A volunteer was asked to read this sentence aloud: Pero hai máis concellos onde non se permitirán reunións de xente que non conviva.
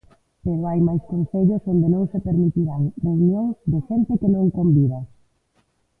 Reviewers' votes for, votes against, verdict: 1, 2, rejected